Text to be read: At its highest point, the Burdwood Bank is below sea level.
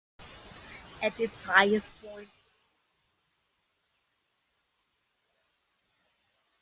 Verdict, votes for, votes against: rejected, 0, 2